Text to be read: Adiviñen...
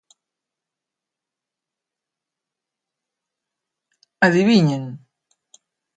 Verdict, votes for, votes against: accepted, 2, 0